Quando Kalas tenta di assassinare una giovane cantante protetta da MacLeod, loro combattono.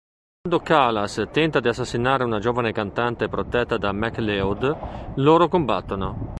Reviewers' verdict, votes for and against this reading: rejected, 1, 2